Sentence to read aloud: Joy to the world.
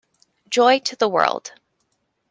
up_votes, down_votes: 2, 0